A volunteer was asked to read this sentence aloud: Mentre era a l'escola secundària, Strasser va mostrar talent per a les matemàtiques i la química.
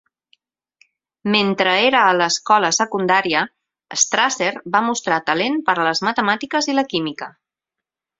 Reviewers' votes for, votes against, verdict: 6, 0, accepted